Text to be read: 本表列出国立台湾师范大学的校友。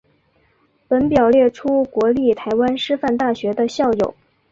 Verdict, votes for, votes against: accepted, 2, 0